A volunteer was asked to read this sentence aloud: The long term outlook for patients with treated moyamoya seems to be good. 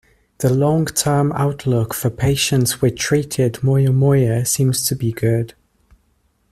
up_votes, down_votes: 2, 0